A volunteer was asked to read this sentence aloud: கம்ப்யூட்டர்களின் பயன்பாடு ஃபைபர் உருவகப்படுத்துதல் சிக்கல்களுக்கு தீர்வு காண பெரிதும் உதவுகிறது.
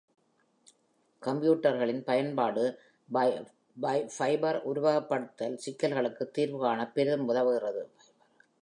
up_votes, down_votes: 1, 2